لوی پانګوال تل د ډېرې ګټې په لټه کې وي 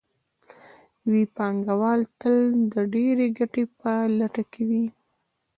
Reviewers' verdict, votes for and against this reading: rejected, 0, 2